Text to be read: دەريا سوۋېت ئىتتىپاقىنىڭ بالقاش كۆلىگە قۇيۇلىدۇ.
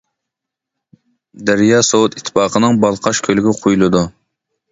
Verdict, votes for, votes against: accepted, 2, 0